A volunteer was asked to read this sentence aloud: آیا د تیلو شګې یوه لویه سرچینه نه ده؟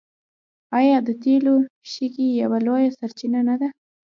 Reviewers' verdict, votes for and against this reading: rejected, 0, 2